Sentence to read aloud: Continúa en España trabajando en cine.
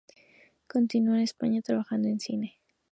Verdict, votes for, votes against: accepted, 2, 0